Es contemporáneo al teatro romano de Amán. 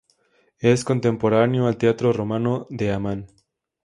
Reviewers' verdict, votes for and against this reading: accepted, 2, 0